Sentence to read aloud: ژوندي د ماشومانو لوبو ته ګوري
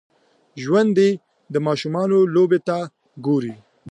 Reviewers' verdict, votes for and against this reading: accepted, 3, 2